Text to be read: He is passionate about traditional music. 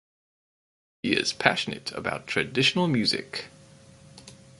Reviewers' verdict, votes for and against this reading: rejected, 2, 2